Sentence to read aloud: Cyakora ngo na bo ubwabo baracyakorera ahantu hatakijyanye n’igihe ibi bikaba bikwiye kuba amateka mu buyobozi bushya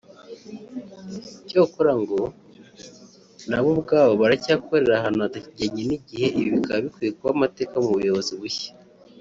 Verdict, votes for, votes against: rejected, 0, 2